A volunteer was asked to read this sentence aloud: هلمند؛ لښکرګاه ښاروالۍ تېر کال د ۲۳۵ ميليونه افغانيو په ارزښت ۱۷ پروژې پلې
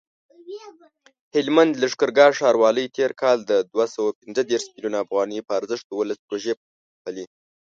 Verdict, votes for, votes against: rejected, 0, 2